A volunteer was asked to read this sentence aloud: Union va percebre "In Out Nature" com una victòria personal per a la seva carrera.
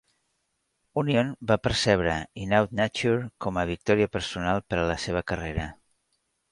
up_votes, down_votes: 1, 2